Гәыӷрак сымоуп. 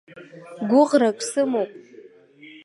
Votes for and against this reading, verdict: 2, 0, accepted